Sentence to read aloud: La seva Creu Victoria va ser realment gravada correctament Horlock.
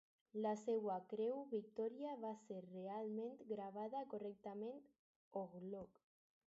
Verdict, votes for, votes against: accepted, 4, 2